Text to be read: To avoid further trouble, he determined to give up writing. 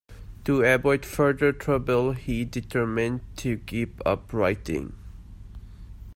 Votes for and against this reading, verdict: 2, 0, accepted